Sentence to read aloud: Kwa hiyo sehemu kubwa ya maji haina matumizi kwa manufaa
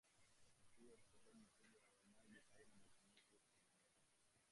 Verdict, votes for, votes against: rejected, 0, 2